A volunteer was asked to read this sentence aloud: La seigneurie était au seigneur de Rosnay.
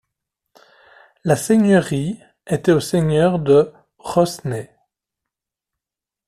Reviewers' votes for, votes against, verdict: 1, 2, rejected